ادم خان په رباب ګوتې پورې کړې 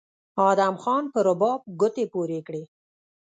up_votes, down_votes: 1, 2